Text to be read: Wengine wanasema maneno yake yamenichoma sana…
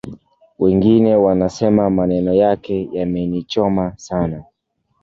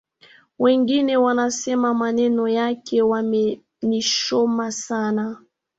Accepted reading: first